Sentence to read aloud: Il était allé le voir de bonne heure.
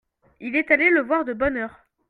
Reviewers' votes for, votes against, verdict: 2, 0, accepted